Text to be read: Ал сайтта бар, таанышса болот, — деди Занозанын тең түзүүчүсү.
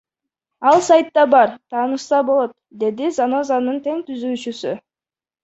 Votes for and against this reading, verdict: 1, 2, rejected